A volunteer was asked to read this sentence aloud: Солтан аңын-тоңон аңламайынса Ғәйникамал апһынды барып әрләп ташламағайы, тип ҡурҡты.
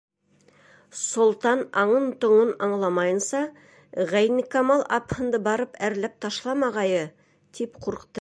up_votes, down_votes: 0, 2